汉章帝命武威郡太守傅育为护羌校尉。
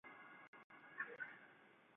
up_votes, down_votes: 0, 2